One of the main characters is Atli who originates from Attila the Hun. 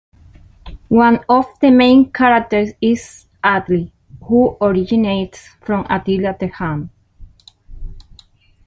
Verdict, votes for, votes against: accepted, 2, 0